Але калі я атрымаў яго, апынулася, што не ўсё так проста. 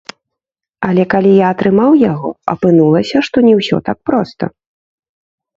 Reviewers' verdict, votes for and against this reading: rejected, 1, 3